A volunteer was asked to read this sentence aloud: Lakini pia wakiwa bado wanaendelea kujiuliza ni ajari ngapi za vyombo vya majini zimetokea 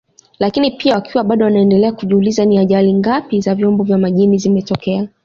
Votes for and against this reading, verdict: 1, 2, rejected